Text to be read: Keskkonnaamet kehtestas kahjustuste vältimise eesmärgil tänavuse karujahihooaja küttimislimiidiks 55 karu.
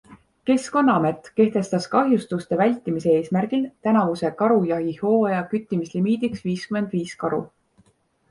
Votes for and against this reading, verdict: 0, 2, rejected